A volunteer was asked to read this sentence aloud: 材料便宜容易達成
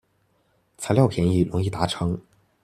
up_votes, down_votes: 1, 2